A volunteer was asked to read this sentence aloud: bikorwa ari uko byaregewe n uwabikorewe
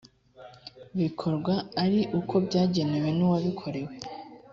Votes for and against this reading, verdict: 1, 2, rejected